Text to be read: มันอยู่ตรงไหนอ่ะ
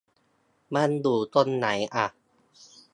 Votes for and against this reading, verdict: 0, 2, rejected